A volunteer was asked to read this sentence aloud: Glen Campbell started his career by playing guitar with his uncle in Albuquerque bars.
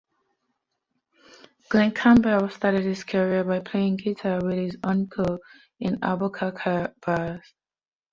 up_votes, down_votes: 1, 2